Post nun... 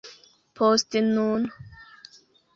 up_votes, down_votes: 2, 0